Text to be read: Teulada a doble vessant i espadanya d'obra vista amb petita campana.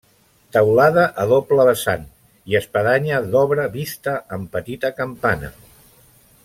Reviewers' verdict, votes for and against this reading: accepted, 2, 0